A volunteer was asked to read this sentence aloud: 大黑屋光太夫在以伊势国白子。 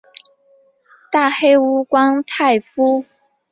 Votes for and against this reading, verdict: 0, 2, rejected